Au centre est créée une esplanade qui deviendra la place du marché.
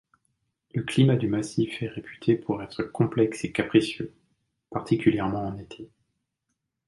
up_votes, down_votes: 1, 2